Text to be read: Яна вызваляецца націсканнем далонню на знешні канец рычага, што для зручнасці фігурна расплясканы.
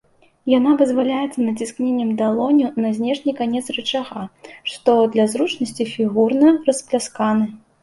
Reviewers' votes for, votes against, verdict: 0, 2, rejected